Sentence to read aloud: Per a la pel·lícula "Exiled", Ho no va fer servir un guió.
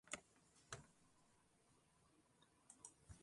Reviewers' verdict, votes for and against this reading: rejected, 0, 2